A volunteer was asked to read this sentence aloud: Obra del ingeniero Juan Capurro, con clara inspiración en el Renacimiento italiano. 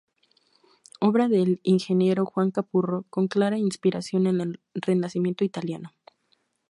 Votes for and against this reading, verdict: 2, 0, accepted